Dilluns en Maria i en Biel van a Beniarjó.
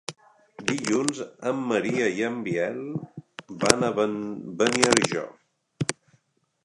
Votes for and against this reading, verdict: 1, 3, rejected